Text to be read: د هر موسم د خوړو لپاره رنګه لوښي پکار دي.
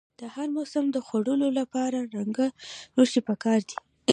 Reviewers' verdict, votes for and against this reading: accepted, 2, 0